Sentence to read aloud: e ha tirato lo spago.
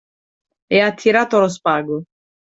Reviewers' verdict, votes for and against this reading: accepted, 2, 0